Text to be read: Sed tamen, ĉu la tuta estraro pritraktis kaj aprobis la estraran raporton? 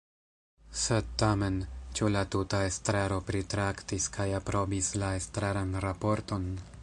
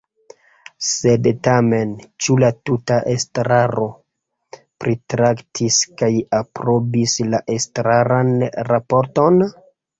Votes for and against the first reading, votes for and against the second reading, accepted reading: 2, 1, 0, 2, first